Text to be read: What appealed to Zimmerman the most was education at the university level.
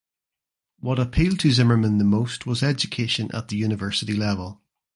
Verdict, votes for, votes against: accepted, 2, 0